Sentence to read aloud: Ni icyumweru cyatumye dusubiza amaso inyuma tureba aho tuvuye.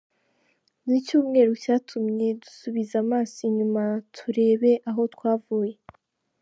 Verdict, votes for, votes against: rejected, 2, 4